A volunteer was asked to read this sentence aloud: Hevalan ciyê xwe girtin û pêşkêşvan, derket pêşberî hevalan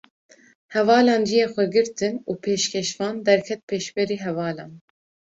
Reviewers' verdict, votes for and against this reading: accepted, 2, 0